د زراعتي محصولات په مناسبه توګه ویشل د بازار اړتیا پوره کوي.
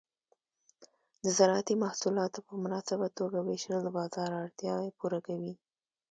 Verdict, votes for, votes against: accepted, 2, 0